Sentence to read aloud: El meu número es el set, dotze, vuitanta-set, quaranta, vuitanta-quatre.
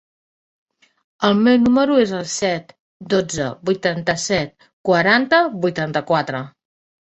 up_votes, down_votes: 2, 0